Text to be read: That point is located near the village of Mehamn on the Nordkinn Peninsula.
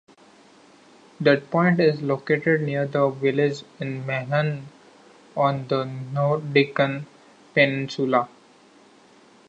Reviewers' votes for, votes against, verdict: 1, 2, rejected